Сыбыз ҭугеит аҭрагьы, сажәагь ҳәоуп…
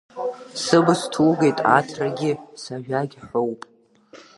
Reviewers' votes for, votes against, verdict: 0, 2, rejected